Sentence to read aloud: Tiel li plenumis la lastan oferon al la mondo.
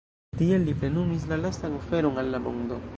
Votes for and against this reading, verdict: 1, 2, rejected